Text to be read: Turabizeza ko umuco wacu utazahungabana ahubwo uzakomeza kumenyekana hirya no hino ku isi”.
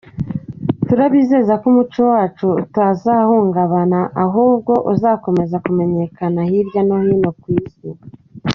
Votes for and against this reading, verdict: 2, 1, accepted